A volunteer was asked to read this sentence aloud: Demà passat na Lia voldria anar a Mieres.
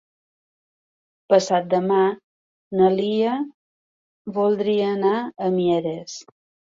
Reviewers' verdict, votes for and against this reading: rejected, 0, 2